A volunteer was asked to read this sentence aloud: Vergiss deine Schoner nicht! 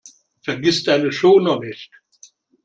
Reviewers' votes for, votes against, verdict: 2, 0, accepted